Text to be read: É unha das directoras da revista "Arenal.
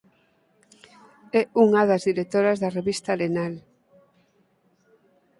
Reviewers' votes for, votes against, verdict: 4, 0, accepted